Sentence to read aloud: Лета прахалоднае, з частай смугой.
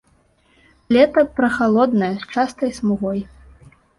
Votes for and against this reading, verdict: 0, 2, rejected